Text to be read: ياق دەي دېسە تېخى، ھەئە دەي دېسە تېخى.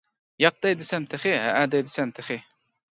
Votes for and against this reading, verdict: 1, 2, rejected